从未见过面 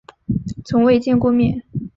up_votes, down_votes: 8, 0